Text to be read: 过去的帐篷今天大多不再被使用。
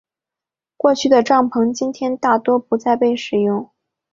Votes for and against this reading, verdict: 3, 0, accepted